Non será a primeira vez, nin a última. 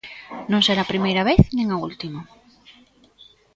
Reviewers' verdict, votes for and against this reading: accepted, 2, 1